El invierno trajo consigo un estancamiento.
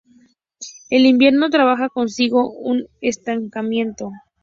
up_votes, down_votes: 0, 4